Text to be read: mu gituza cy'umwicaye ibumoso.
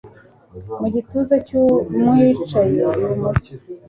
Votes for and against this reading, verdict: 2, 0, accepted